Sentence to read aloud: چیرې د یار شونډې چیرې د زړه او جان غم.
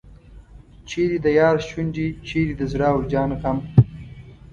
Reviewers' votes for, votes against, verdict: 2, 0, accepted